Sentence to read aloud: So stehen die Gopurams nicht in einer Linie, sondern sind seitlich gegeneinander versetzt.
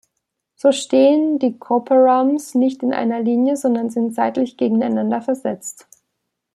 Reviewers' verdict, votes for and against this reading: rejected, 0, 2